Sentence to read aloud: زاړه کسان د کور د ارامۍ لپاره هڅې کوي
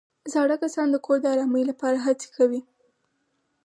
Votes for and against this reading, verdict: 2, 4, rejected